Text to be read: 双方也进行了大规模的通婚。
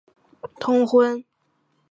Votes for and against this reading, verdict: 0, 2, rejected